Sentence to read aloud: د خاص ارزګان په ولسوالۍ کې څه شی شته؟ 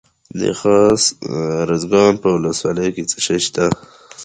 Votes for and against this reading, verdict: 2, 0, accepted